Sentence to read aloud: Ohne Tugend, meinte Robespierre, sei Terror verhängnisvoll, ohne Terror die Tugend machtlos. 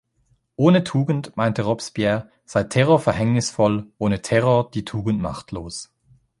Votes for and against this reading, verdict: 2, 0, accepted